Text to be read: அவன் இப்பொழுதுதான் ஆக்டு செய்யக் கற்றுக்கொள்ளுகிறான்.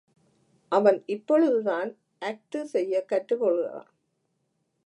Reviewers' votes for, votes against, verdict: 1, 2, rejected